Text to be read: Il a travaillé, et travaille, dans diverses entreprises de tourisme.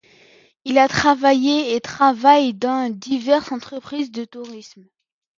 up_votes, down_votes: 2, 0